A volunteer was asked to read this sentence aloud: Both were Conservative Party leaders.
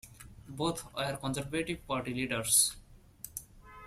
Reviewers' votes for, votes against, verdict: 2, 0, accepted